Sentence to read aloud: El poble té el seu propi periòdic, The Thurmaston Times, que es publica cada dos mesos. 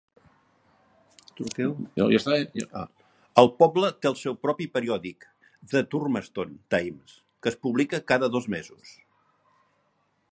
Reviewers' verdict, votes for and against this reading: rejected, 1, 2